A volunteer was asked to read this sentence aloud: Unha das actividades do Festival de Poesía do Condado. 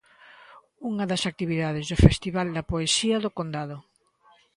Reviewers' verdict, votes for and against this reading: rejected, 0, 2